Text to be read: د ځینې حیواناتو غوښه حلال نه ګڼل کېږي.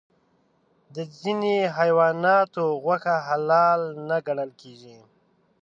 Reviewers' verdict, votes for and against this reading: accepted, 2, 0